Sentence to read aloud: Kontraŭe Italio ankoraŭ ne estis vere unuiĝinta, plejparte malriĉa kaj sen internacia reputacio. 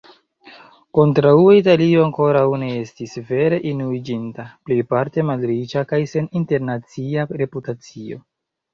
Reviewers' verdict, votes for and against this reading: accepted, 2, 0